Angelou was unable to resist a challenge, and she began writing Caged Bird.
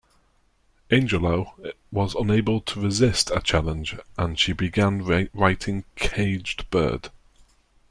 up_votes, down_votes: 2, 1